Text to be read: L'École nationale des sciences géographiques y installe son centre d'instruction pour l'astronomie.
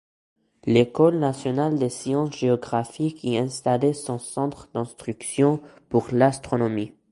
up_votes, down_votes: 1, 2